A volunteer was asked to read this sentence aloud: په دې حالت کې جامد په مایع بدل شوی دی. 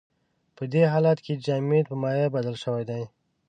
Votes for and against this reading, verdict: 2, 0, accepted